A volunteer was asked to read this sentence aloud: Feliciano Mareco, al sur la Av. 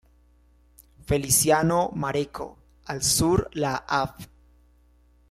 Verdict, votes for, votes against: rejected, 0, 2